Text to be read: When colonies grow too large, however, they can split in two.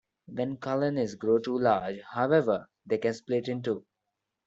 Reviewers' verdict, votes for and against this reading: accepted, 2, 0